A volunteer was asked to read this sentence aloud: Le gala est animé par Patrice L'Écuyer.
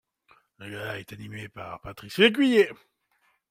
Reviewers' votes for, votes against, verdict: 0, 2, rejected